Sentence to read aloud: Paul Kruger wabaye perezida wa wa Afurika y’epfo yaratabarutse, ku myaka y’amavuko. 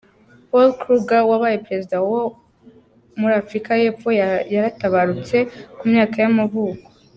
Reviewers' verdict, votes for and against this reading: rejected, 1, 2